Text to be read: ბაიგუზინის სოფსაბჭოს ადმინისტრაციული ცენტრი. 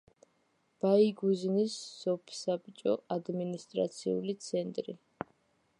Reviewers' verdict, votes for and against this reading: accepted, 2, 1